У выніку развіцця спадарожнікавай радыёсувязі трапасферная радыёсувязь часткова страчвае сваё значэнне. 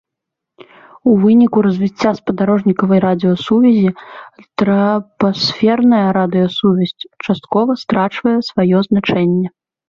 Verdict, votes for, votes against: rejected, 1, 2